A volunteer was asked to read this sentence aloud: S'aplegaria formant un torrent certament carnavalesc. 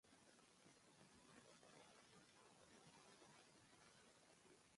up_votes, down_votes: 0, 2